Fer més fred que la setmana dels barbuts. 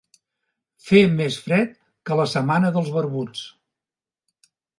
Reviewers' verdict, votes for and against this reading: accepted, 2, 0